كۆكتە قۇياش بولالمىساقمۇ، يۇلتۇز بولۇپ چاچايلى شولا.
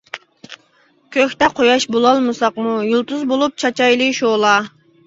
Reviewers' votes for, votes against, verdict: 2, 0, accepted